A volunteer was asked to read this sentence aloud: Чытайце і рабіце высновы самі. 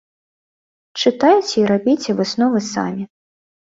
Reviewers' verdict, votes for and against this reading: accepted, 2, 0